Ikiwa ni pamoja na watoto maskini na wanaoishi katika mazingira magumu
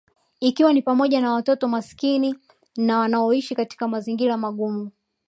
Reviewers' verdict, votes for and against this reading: accepted, 2, 0